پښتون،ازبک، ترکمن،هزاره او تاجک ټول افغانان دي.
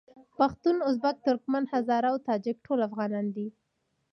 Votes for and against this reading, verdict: 1, 2, rejected